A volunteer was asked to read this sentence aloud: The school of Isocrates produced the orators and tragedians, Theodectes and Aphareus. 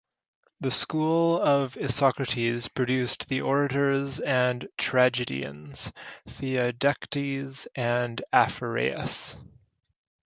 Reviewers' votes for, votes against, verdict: 2, 0, accepted